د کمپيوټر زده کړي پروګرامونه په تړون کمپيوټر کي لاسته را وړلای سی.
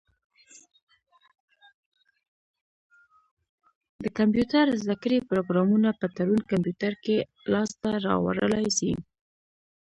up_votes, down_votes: 1, 2